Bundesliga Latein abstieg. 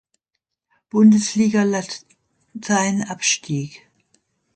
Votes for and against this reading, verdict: 0, 2, rejected